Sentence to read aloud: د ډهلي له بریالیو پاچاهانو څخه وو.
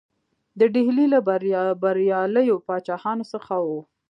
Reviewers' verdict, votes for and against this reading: accepted, 2, 0